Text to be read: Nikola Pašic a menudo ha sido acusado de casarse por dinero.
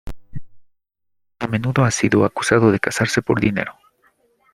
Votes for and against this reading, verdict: 0, 2, rejected